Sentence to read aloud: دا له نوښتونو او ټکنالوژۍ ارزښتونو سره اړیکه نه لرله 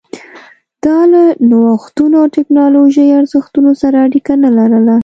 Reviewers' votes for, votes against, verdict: 2, 1, accepted